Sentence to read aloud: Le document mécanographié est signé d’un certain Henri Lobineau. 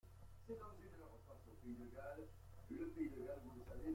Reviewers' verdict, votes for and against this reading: rejected, 0, 2